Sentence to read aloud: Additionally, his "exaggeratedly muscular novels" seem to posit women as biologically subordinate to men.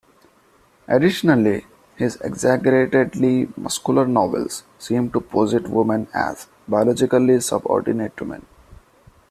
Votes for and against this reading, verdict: 1, 2, rejected